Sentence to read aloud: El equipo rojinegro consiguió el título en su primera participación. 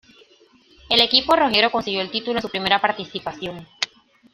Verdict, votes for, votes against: rejected, 1, 2